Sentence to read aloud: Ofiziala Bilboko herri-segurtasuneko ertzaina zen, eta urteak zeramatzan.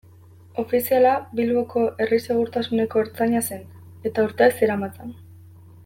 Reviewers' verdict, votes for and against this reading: accepted, 2, 0